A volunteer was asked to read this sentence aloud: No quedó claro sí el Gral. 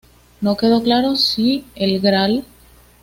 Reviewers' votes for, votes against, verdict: 2, 0, accepted